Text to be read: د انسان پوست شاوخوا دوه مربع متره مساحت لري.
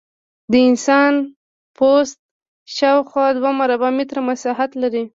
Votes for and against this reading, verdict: 1, 2, rejected